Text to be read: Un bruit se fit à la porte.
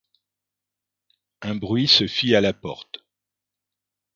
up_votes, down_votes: 1, 2